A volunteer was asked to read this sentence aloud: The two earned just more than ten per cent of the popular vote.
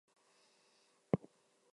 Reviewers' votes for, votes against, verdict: 0, 4, rejected